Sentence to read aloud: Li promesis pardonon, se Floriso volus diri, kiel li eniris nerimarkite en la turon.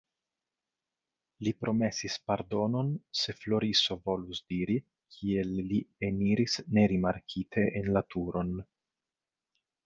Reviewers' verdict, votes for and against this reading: accepted, 2, 0